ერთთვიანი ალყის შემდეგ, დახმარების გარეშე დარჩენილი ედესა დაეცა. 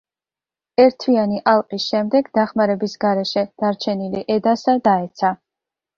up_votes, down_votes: 1, 2